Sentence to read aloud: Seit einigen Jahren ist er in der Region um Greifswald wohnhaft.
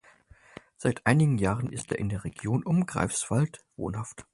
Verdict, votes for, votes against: accepted, 4, 0